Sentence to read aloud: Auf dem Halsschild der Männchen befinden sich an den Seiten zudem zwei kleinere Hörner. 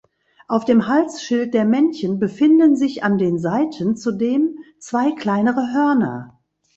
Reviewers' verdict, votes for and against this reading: rejected, 1, 2